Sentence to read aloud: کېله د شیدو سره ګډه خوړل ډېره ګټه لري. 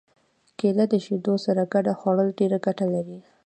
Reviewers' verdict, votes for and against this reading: rejected, 1, 2